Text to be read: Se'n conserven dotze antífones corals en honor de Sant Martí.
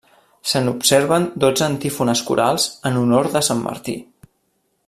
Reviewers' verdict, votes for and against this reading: rejected, 0, 2